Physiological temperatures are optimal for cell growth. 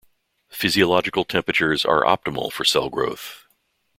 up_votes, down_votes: 2, 0